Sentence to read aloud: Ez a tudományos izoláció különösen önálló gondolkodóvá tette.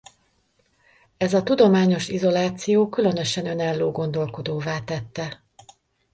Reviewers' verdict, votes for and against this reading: accepted, 2, 0